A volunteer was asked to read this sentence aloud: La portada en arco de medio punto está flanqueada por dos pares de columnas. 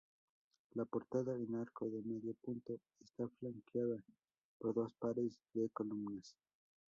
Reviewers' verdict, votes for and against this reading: rejected, 0, 2